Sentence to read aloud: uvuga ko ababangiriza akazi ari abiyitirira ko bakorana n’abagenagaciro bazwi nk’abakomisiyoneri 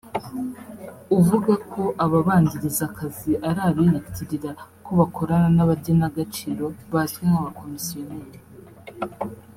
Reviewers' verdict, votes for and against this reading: accepted, 5, 1